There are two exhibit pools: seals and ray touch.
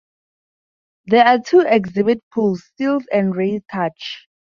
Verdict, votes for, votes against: accepted, 4, 0